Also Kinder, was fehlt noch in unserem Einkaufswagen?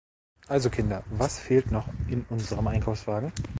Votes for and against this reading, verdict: 1, 2, rejected